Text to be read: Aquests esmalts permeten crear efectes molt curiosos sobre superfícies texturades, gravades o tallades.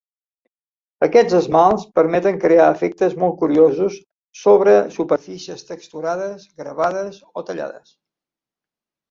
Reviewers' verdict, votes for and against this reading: accepted, 2, 0